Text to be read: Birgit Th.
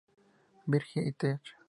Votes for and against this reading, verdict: 0, 2, rejected